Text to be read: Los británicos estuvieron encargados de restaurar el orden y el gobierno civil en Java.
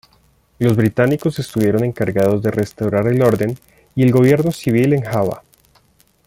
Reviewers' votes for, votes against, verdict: 1, 2, rejected